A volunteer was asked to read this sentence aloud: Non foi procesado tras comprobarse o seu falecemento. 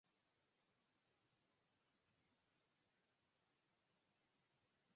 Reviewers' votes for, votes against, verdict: 0, 4, rejected